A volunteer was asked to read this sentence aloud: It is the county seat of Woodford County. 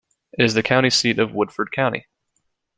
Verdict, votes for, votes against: rejected, 1, 2